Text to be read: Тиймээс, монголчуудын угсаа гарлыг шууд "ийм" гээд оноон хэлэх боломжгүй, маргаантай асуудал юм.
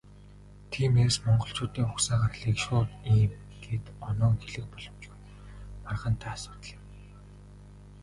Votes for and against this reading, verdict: 1, 2, rejected